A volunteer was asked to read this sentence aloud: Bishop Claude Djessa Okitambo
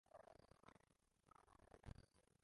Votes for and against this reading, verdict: 0, 2, rejected